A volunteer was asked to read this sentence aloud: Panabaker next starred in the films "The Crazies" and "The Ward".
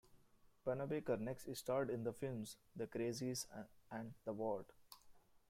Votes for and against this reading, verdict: 0, 2, rejected